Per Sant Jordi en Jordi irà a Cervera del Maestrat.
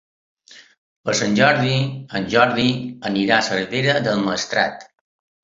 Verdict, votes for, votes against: rejected, 0, 2